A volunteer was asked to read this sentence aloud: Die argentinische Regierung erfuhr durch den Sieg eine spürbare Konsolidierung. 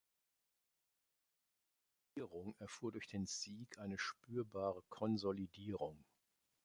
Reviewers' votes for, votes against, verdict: 0, 2, rejected